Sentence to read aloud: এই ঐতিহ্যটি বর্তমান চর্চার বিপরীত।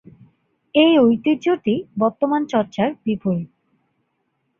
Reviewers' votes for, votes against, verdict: 2, 0, accepted